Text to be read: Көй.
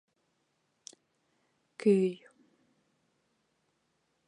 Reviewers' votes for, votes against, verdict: 2, 0, accepted